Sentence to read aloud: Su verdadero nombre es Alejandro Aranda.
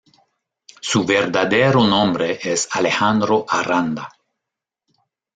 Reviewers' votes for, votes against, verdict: 1, 2, rejected